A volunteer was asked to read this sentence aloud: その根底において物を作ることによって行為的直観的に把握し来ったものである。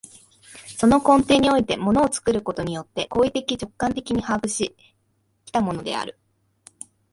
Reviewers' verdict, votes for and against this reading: rejected, 0, 3